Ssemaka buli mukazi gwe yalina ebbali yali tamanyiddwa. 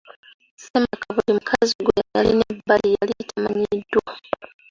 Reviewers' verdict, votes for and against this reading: accepted, 2, 1